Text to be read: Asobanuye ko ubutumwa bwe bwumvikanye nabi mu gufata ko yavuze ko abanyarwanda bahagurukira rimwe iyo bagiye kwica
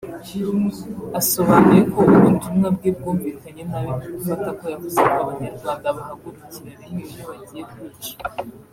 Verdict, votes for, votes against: accepted, 2, 1